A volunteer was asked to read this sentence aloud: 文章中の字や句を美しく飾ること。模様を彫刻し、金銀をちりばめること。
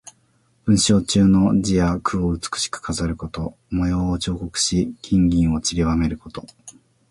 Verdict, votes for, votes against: accepted, 2, 0